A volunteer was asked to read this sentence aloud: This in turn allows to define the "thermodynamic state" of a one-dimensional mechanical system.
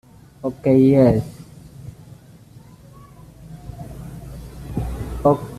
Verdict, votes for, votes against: rejected, 0, 2